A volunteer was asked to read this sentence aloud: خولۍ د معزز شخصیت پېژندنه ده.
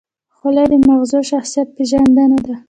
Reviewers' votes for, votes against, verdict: 0, 2, rejected